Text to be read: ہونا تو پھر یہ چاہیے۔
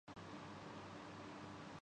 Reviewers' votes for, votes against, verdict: 2, 3, rejected